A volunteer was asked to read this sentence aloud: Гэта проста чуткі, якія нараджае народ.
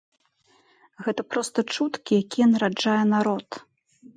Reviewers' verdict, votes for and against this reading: accepted, 2, 0